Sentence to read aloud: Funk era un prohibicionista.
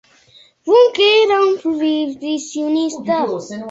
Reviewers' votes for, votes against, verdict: 2, 3, rejected